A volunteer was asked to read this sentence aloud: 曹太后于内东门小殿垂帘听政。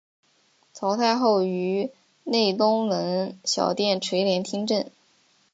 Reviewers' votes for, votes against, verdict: 2, 0, accepted